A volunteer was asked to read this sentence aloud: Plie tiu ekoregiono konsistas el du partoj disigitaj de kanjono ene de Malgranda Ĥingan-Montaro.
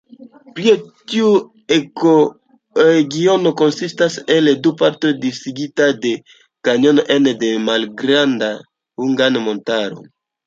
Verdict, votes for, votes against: rejected, 1, 2